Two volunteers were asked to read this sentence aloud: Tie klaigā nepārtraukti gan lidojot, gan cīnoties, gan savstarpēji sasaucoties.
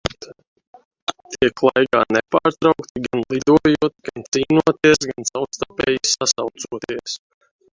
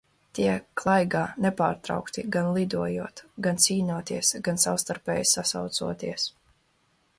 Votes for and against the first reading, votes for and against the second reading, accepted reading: 0, 2, 2, 0, second